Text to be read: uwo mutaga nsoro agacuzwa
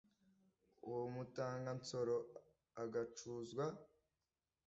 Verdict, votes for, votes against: accepted, 2, 0